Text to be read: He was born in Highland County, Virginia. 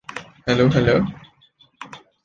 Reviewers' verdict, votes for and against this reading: rejected, 0, 2